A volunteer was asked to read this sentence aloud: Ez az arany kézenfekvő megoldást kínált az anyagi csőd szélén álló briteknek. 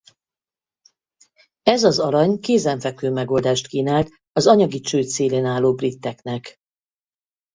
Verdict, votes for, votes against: rejected, 2, 2